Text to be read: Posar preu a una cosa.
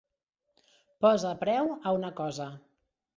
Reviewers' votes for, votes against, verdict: 0, 2, rejected